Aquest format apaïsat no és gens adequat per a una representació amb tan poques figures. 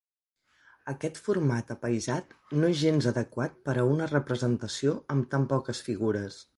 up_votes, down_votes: 3, 0